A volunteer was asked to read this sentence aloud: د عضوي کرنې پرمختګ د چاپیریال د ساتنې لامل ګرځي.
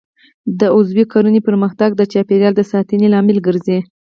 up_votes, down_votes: 4, 2